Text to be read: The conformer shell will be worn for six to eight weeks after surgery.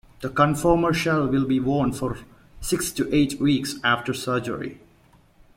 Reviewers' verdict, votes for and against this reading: accepted, 2, 0